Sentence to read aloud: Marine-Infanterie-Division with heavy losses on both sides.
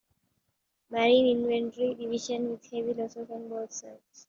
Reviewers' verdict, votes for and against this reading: rejected, 0, 2